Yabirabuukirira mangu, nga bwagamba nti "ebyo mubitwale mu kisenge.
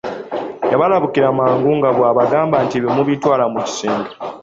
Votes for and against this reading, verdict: 0, 2, rejected